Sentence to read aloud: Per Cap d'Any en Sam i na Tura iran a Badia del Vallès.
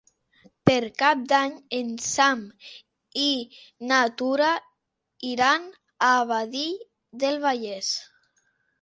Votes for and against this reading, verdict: 0, 2, rejected